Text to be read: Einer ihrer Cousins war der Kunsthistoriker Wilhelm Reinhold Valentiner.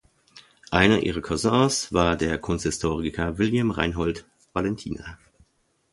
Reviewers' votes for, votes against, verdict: 0, 2, rejected